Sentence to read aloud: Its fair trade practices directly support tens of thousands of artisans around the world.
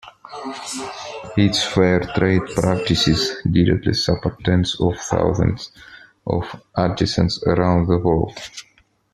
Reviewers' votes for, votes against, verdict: 2, 0, accepted